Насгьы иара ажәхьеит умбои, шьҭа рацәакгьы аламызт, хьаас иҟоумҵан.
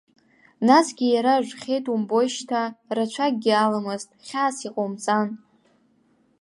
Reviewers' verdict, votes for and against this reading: accepted, 2, 0